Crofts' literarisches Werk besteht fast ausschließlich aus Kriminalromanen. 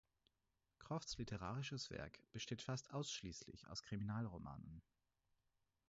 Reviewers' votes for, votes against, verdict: 4, 0, accepted